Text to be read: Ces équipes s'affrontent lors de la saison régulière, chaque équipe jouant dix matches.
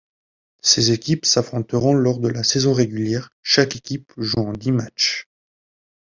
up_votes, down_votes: 1, 2